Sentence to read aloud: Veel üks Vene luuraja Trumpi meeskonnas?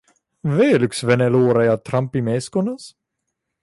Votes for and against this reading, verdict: 2, 1, accepted